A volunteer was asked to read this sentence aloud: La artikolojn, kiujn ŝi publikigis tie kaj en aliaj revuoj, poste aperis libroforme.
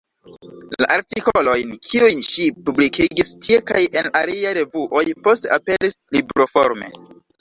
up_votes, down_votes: 0, 2